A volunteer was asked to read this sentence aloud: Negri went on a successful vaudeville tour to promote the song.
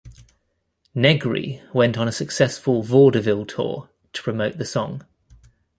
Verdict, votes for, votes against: accepted, 2, 1